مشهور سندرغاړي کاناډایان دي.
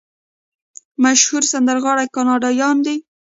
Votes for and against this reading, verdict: 1, 2, rejected